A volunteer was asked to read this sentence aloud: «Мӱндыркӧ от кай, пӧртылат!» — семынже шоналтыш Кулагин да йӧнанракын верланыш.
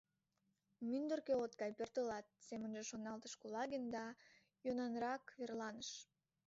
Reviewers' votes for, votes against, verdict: 1, 2, rejected